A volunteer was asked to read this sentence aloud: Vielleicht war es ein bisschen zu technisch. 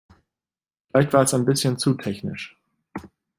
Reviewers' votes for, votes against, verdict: 1, 2, rejected